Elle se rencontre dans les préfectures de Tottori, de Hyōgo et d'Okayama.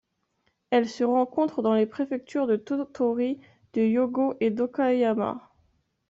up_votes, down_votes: 1, 2